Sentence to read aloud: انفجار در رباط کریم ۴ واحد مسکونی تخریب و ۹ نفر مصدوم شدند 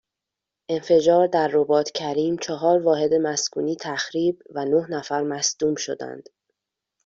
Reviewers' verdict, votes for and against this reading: rejected, 0, 2